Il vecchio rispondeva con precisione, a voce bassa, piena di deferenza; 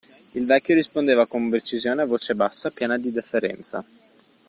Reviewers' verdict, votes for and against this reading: accepted, 2, 1